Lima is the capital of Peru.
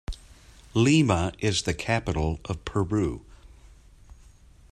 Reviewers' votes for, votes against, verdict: 2, 0, accepted